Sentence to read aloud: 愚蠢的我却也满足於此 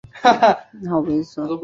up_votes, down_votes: 2, 3